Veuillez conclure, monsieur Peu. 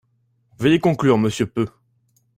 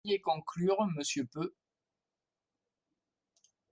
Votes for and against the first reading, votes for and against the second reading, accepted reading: 2, 1, 0, 2, first